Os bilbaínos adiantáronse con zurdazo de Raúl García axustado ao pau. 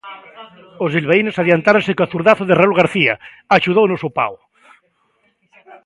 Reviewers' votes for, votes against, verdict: 0, 2, rejected